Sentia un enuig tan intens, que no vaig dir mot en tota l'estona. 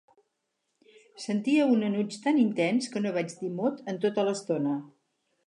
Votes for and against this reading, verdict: 6, 0, accepted